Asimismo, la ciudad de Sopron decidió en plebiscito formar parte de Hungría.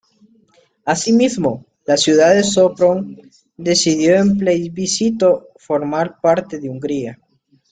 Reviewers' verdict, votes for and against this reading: accepted, 2, 1